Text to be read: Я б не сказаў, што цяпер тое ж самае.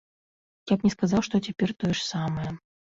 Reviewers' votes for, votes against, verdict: 2, 1, accepted